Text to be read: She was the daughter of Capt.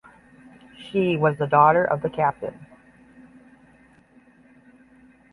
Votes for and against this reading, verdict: 5, 5, rejected